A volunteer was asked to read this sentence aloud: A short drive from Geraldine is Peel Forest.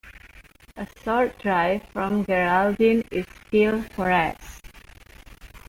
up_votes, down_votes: 0, 2